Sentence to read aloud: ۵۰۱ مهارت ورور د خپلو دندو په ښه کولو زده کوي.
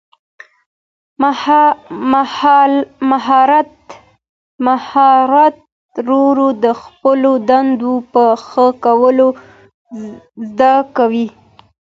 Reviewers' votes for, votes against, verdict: 0, 2, rejected